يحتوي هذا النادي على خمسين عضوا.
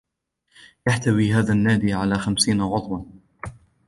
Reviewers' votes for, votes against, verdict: 2, 0, accepted